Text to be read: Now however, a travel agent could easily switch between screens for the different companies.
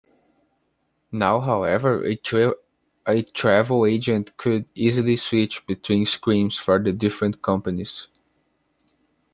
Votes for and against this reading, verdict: 0, 2, rejected